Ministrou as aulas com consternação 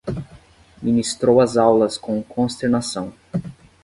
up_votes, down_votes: 5, 5